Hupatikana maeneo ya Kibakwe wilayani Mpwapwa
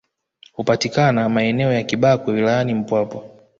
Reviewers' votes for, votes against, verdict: 1, 2, rejected